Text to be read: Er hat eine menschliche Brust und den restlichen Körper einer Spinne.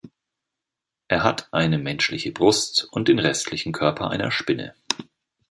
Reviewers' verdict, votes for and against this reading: accepted, 2, 0